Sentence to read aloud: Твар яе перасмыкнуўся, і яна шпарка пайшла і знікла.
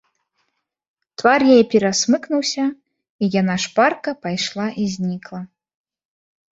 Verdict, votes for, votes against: rejected, 1, 2